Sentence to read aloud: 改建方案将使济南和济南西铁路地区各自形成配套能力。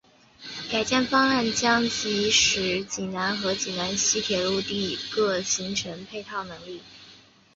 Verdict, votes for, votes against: accepted, 6, 5